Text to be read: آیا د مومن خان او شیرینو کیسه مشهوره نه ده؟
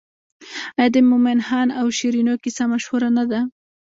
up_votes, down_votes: 1, 2